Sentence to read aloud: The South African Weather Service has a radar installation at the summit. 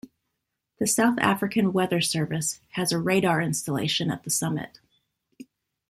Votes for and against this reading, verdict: 2, 0, accepted